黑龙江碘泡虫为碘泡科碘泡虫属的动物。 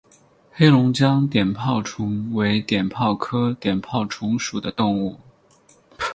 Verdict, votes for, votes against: accepted, 4, 0